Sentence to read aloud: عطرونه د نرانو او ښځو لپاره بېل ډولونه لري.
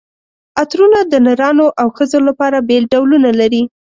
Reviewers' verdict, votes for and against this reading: accepted, 2, 0